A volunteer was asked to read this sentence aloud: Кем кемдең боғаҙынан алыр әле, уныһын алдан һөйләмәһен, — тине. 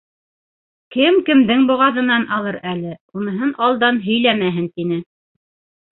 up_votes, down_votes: 2, 0